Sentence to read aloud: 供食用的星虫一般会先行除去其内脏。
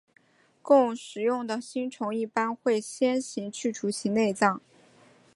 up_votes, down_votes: 2, 0